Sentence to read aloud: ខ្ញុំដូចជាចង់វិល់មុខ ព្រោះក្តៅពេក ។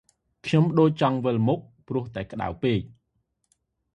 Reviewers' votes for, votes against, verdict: 0, 2, rejected